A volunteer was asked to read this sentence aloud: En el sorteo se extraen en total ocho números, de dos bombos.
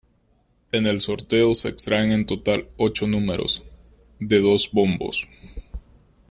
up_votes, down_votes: 2, 1